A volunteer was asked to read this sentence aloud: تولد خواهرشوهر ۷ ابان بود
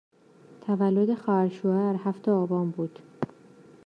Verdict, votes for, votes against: rejected, 0, 2